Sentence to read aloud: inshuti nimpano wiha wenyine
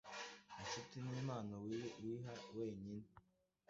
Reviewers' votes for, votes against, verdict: 1, 2, rejected